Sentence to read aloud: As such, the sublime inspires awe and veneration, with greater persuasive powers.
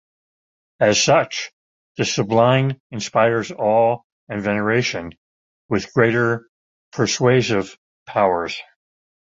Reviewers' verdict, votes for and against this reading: accepted, 2, 0